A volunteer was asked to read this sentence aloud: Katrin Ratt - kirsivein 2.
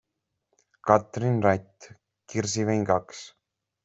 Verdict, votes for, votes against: rejected, 0, 2